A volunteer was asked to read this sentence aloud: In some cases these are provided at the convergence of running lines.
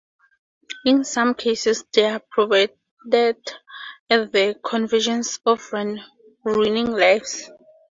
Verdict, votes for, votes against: rejected, 0, 2